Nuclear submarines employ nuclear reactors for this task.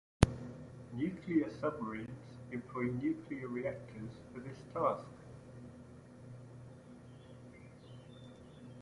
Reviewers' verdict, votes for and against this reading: rejected, 0, 2